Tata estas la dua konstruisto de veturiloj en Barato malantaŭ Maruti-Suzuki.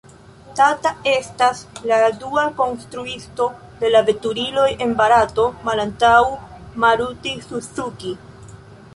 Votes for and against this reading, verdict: 1, 2, rejected